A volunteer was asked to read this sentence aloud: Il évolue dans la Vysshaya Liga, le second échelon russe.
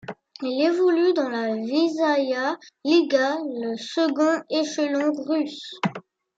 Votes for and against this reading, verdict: 2, 1, accepted